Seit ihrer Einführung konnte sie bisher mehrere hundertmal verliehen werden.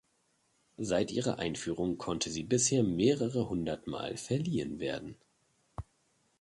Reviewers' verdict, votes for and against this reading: accepted, 3, 0